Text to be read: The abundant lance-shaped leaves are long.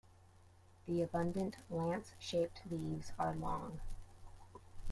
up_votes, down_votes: 1, 2